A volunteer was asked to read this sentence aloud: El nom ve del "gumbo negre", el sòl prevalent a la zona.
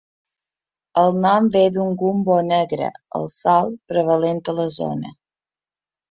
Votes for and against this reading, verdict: 1, 2, rejected